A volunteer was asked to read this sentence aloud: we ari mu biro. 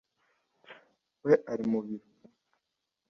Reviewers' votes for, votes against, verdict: 2, 1, accepted